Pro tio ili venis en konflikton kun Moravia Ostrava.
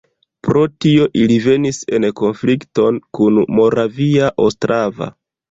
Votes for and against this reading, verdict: 2, 0, accepted